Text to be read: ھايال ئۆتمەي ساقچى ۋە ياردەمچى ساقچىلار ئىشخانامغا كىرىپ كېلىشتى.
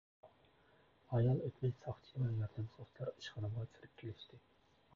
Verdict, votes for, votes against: rejected, 0, 2